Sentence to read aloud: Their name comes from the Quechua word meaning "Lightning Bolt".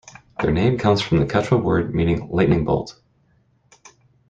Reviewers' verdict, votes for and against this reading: accepted, 2, 0